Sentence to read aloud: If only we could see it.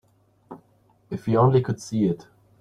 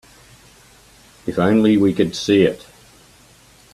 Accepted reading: second